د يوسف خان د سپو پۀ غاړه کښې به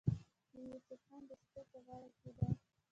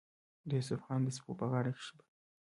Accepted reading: second